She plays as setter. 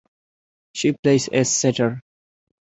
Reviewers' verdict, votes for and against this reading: accepted, 2, 0